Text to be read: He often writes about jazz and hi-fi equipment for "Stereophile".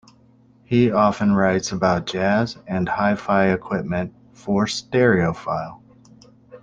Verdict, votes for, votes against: accepted, 2, 0